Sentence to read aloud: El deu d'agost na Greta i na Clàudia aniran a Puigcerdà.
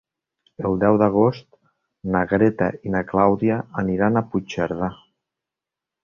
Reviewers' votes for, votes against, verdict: 2, 0, accepted